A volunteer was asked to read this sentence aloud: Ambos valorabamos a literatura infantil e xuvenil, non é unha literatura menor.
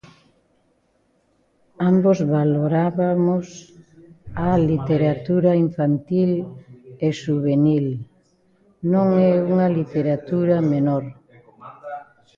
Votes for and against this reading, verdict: 0, 2, rejected